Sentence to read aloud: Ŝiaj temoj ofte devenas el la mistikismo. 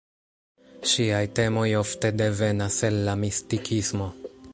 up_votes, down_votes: 2, 0